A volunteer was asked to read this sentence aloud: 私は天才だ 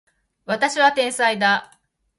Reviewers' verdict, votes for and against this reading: accepted, 2, 0